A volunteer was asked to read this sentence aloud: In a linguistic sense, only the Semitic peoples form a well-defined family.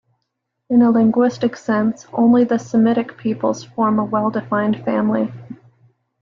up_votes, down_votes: 2, 0